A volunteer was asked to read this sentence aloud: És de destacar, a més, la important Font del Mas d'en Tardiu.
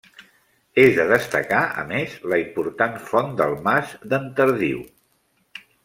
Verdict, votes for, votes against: accepted, 2, 0